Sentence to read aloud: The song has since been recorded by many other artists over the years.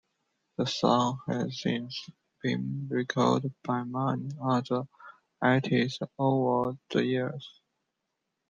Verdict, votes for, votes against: rejected, 0, 2